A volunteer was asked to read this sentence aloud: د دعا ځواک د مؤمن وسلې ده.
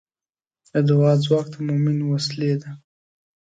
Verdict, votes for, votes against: accepted, 2, 0